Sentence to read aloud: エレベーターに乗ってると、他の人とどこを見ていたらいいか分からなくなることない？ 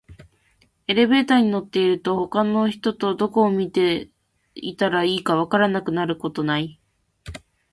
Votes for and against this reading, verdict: 2, 0, accepted